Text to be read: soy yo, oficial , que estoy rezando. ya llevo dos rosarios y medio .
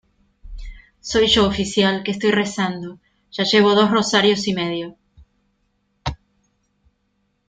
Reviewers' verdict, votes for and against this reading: accepted, 2, 0